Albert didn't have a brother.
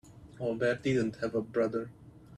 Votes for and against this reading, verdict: 2, 0, accepted